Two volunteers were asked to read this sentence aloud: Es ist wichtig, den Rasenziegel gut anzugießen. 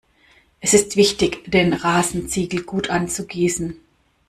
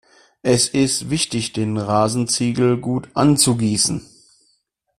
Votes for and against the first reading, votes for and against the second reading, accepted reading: 0, 2, 2, 0, second